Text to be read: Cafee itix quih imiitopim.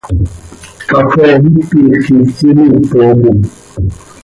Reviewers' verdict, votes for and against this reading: accepted, 2, 1